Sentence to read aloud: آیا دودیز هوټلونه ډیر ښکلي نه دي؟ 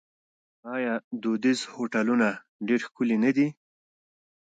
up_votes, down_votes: 2, 0